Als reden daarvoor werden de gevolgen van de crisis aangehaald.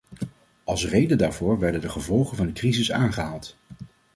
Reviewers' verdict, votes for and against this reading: accepted, 2, 0